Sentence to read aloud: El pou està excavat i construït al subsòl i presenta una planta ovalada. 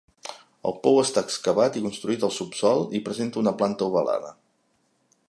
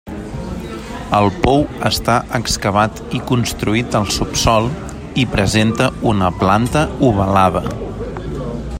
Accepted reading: first